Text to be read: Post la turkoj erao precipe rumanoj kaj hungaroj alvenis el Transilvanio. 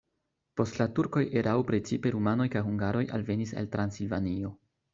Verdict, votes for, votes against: accepted, 2, 0